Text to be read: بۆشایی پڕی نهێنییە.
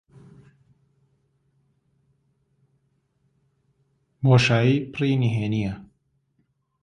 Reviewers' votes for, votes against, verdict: 0, 2, rejected